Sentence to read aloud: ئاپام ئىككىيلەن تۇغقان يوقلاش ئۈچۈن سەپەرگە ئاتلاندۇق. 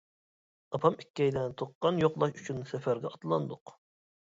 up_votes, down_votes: 2, 0